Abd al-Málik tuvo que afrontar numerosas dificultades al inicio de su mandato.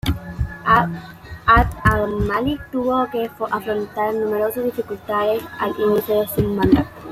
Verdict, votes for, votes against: rejected, 1, 2